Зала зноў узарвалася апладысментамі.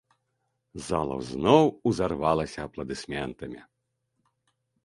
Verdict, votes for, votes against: accepted, 2, 0